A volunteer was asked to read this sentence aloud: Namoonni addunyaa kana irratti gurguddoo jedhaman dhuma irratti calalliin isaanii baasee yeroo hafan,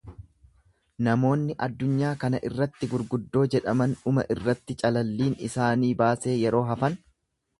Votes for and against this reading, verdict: 2, 0, accepted